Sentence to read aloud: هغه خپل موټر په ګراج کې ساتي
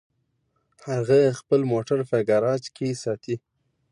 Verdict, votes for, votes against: accepted, 2, 0